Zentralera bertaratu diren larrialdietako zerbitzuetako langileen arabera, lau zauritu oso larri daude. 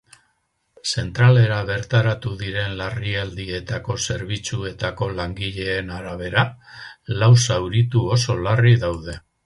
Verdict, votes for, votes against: rejected, 0, 4